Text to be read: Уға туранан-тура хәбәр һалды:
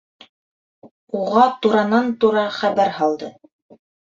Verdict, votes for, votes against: accepted, 2, 0